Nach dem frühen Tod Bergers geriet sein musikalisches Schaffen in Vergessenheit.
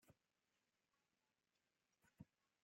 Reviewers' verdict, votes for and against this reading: rejected, 0, 2